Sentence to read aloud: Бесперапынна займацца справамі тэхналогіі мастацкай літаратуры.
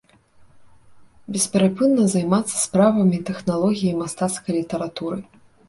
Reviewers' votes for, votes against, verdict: 2, 0, accepted